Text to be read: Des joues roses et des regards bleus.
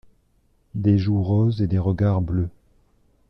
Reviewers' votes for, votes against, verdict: 2, 0, accepted